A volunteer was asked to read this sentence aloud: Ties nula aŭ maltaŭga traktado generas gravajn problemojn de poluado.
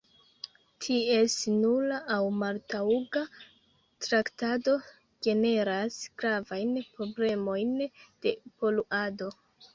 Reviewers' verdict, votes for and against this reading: rejected, 1, 2